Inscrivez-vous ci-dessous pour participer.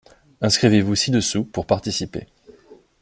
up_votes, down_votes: 2, 0